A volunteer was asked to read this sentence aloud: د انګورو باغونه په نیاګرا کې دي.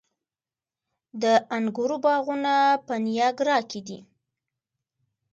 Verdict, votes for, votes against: accepted, 2, 0